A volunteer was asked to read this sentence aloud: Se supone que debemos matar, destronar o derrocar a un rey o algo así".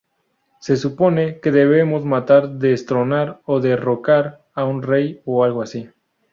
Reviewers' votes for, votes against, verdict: 2, 2, rejected